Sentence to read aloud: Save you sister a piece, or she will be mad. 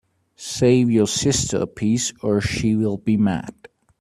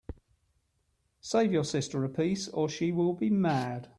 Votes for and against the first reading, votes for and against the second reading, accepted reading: 0, 2, 2, 0, second